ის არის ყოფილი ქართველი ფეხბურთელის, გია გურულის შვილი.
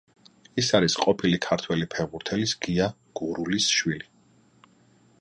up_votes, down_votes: 2, 0